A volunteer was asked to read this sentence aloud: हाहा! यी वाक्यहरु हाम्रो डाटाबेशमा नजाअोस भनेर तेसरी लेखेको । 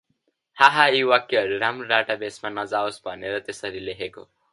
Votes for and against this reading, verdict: 0, 2, rejected